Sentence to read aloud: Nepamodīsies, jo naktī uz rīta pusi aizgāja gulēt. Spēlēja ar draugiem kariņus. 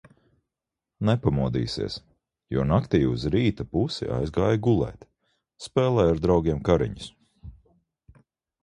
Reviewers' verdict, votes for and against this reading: accepted, 2, 1